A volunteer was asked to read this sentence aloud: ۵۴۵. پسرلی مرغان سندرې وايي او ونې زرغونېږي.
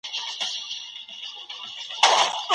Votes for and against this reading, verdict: 0, 2, rejected